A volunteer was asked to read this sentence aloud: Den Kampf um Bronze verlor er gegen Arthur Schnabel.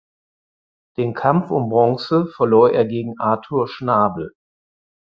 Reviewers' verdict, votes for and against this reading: accepted, 4, 0